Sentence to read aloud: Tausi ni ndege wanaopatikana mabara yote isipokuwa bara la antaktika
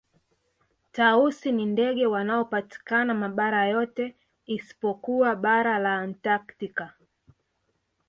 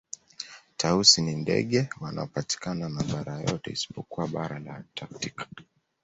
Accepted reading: first